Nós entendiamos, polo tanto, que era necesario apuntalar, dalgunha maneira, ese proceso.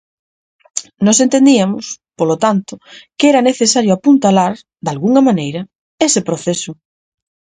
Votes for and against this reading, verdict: 0, 4, rejected